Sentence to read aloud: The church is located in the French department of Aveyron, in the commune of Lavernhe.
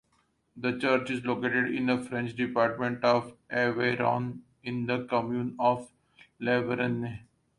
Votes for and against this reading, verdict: 2, 1, accepted